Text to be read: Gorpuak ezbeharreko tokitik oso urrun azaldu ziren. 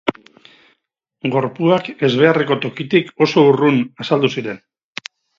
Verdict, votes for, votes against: accepted, 4, 0